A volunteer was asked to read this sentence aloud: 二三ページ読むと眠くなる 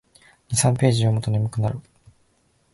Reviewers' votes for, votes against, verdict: 2, 0, accepted